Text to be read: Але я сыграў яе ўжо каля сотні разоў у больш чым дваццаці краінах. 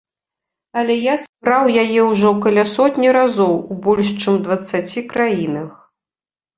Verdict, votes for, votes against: rejected, 0, 2